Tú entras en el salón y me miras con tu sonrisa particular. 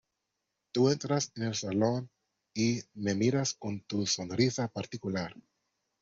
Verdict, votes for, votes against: accepted, 2, 0